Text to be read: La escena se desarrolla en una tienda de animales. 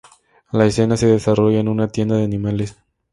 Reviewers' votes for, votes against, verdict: 0, 2, rejected